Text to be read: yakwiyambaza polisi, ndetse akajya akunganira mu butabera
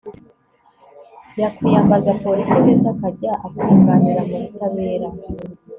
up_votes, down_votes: 2, 0